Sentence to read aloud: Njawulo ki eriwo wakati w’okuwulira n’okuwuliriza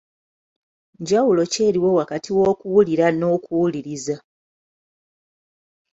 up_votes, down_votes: 2, 0